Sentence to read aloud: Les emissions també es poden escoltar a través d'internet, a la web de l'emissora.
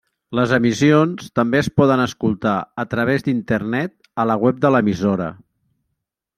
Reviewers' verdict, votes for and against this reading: rejected, 0, 2